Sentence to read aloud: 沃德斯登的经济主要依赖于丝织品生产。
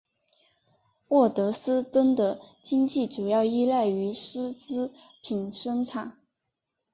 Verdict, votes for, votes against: accepted, 3, 0